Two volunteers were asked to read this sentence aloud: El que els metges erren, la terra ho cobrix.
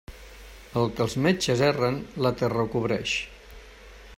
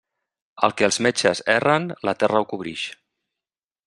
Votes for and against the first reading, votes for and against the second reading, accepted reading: 0, 2, 2, 0, second